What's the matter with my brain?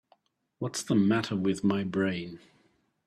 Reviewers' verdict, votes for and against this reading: accepted, 3, 0